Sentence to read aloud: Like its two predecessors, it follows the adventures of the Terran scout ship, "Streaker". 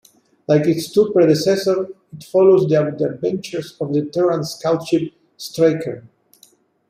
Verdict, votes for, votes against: rejected, 0, 2